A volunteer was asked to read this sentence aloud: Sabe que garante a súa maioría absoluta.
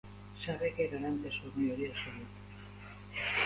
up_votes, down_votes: 0, 2